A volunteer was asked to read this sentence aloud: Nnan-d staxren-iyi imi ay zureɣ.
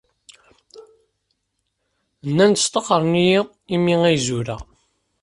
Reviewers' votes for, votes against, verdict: 2, 0, accepted